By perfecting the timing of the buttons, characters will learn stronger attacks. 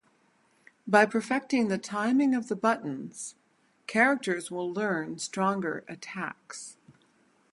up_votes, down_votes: 0, 2